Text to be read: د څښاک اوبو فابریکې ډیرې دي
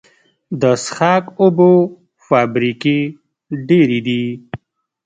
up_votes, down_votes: 2, 0